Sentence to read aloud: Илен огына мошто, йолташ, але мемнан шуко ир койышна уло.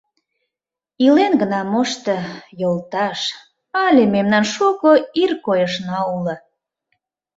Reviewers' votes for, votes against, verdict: 0, 2, rejected